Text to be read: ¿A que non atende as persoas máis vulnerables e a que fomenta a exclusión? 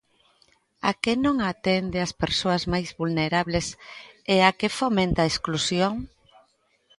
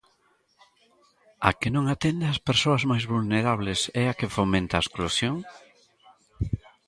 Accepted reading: first